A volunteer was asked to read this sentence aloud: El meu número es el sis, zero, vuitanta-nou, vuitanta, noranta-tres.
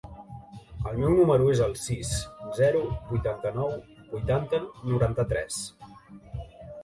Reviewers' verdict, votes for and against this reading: rejected, 1, 2